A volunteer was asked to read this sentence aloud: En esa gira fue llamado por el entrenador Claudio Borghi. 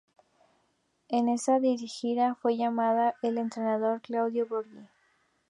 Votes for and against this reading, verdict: 0, 2, rejected